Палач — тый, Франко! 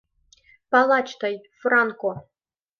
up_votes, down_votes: 2, 0